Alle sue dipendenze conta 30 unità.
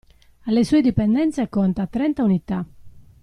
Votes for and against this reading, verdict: 0, 2, rejected